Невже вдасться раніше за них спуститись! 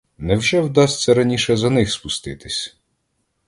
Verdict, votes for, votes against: accepted, 2, 0